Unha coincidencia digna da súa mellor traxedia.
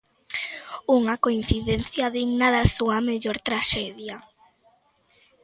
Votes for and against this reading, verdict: 2, 0, accepted